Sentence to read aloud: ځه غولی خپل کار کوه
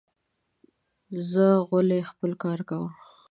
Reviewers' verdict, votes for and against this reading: accepted, 2, 1